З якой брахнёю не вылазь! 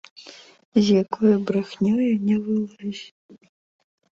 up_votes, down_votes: 0, 2